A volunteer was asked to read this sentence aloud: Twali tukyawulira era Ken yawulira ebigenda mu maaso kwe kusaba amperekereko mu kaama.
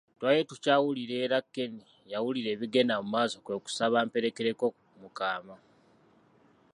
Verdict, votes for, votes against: accepted, 2, 0